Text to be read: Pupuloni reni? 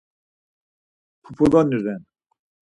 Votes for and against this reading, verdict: 2, 4, rejected